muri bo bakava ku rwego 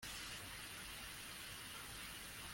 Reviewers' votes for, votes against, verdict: 0, 2, rejected